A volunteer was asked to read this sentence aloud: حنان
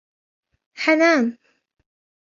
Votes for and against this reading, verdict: 1, 2, rejected